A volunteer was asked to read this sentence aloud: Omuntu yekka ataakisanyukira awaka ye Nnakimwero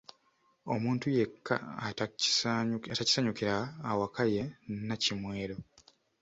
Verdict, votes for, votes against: rejected, 0, 2